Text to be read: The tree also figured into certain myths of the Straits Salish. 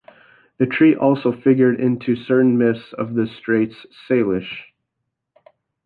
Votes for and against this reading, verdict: 0, 2, rejected